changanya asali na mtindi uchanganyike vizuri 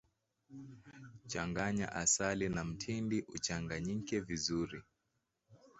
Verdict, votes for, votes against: accepted, 2, 1